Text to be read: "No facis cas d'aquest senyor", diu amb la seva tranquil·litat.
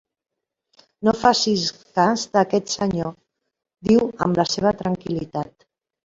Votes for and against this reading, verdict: 3, 0, accepted